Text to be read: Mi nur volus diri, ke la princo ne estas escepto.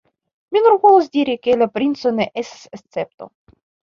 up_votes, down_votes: 1, 2